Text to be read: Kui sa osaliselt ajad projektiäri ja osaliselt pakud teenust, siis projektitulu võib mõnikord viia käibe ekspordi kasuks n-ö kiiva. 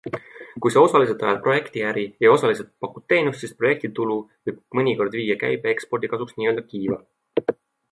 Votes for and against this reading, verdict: 2, 0, accepted